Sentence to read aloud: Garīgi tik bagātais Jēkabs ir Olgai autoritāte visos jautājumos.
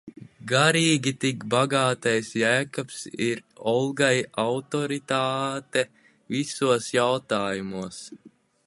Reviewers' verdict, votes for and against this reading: rejected, 1, 2